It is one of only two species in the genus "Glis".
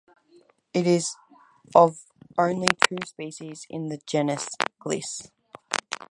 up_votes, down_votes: 2, 4